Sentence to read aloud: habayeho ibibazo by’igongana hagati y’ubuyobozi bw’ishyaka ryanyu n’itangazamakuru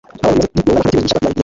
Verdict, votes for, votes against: rejected, 0, 2